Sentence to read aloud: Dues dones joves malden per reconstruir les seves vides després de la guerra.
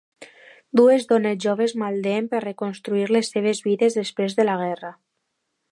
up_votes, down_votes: 2, 0